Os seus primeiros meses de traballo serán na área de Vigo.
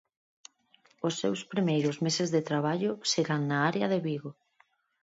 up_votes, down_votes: 4, 0